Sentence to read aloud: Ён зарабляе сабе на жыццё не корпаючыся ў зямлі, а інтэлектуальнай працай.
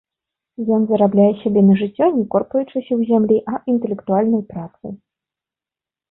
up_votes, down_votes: 2, 0